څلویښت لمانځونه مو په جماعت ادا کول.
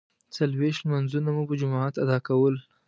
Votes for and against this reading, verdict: 1, 2, rejected